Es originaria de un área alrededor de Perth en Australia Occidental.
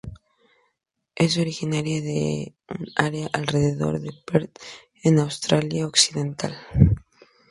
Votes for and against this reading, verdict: 2, 0, accepted